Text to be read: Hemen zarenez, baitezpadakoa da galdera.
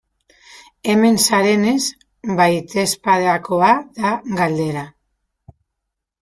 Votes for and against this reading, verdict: 2, 2, rejected